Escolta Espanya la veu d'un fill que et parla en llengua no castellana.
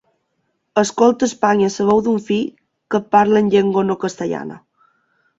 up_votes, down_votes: 1, 2